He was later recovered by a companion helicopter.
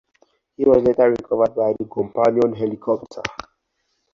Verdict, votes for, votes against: rejected, 2, 4